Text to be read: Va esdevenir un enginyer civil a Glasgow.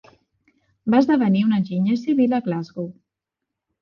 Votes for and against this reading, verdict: 2, 0, accepted